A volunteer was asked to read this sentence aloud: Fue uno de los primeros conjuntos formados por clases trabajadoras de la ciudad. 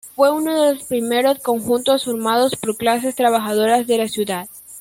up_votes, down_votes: 2, 1